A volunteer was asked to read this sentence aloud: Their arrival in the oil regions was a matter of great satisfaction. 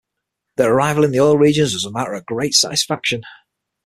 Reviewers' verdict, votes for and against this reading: accepted, 6, 0